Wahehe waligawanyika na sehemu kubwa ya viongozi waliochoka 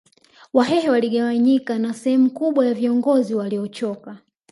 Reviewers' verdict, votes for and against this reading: accepted, 2, 0